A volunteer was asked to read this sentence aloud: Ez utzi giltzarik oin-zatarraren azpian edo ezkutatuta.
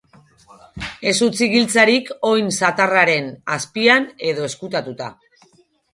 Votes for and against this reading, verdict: 2, 2, rejected